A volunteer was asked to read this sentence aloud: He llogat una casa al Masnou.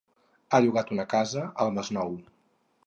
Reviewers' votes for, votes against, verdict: 2, 2, rejected